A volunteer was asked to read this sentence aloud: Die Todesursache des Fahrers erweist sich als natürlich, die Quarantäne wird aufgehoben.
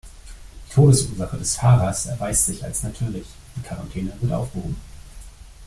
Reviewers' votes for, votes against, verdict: 1, 2, rejected